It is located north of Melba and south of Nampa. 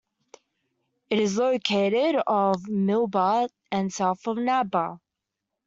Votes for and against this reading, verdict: 1, 2, rejected